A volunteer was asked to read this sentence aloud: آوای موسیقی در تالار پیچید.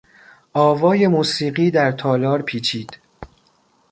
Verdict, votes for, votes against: accepted, 2, 0